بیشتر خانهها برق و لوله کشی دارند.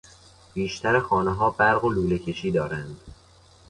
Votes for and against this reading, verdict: 2, 0, accepted